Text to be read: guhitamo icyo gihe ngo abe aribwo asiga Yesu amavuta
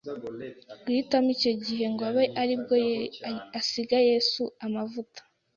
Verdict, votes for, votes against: rejected, 0, 2